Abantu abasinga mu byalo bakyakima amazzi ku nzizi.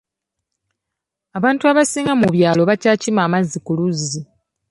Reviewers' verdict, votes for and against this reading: rejected, 1, 2